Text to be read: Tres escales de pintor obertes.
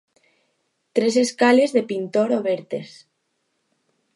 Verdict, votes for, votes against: accepted, 2, 0